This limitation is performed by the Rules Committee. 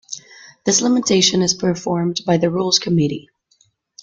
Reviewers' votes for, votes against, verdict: 1, 2, rejected